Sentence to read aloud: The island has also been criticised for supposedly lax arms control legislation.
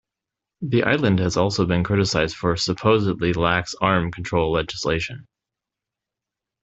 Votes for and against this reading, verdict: 0, 2, rejected